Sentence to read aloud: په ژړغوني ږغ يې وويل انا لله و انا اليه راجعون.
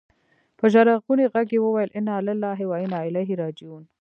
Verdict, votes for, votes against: accepted, 2, 1